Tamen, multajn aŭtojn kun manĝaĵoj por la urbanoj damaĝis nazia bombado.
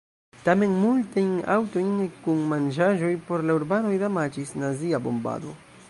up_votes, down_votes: 1, 2